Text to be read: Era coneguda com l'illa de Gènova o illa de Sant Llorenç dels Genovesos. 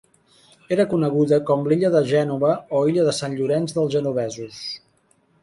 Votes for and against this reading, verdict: 3, 0, accepted